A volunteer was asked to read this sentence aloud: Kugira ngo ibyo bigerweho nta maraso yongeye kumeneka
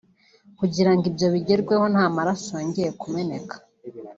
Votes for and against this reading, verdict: 2, 0, accepted